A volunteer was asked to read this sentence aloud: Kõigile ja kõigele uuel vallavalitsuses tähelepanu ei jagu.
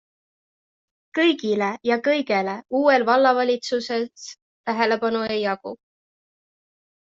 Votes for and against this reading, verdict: 0, 2, rejected